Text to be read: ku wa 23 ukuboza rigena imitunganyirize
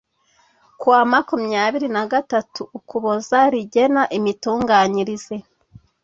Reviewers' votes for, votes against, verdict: 0, 2, rejected